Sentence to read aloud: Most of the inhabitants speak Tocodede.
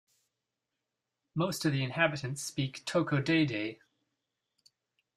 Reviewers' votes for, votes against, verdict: 2, 0, accepted